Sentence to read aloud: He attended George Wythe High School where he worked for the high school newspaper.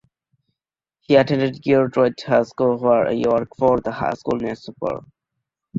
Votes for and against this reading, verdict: 2, 1, accepted